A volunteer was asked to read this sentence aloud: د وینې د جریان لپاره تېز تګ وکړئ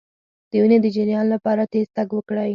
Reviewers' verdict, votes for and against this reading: accepted, 4, 2